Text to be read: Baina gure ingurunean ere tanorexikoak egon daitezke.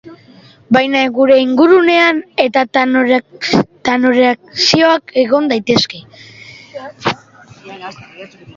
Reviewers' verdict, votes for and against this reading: rejected, 1, 3